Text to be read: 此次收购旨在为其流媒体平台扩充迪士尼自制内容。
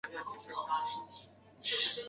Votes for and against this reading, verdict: 0, 2, rejected